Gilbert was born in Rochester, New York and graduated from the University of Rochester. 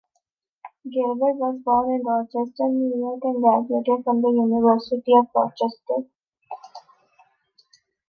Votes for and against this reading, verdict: 2, 0, accepted